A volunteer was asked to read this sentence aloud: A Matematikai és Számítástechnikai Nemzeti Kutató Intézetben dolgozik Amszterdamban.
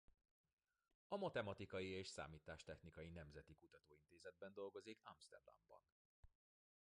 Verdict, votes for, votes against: rejected, 0, 2